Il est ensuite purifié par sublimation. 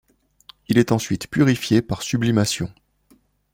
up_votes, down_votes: 2, 0